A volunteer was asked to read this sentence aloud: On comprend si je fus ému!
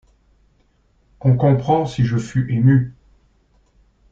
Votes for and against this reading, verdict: 2, 0, accepted